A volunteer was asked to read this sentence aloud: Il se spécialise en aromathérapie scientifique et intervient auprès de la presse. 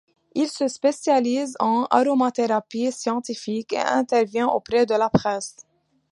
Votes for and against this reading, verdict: 2, 0, accepted